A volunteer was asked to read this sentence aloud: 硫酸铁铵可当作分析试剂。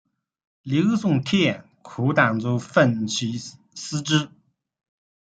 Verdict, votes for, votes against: rejected, 0, 2